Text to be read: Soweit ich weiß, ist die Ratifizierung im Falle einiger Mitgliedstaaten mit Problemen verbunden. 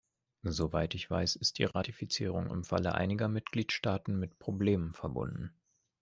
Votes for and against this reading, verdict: 2, 0, accepted